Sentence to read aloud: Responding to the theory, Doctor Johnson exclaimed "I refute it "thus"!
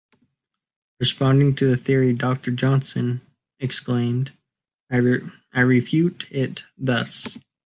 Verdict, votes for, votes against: rejected, 0, 2